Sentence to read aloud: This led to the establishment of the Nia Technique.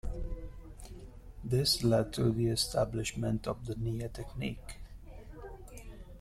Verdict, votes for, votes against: rejected, 0, 2